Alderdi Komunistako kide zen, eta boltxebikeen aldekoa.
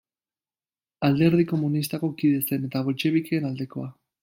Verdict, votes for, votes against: accepted, 2, 0